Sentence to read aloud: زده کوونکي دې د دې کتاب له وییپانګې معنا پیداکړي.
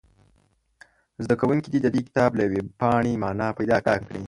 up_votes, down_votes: 1, 2